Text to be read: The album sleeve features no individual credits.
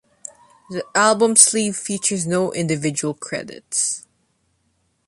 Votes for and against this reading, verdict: 2, 0, accepted